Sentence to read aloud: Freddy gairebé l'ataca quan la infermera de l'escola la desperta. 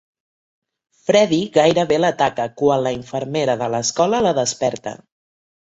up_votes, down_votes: 2, 0